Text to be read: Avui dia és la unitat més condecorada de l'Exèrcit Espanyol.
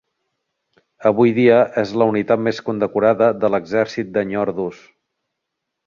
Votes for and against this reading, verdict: 0, 2, rejected